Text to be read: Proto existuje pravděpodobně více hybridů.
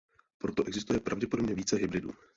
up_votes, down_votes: 0, 2